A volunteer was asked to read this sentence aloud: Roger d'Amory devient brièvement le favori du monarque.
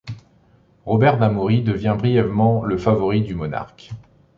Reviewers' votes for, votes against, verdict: 1, 2, rejected